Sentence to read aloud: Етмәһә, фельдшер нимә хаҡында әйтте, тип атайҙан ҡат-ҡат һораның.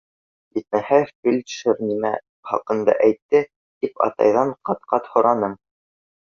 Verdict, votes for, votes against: rejected, 0, 2